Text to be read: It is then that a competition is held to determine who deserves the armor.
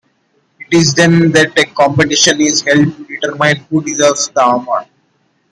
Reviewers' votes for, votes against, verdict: 1, 2, rejected